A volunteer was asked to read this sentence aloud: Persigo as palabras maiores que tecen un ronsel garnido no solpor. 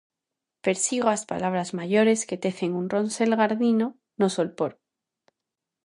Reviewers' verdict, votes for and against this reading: rejected, 0, 2